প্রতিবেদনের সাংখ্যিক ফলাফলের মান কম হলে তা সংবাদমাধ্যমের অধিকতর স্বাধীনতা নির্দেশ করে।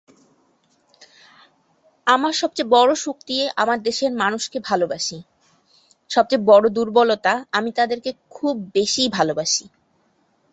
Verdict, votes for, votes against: rejected, 0, 3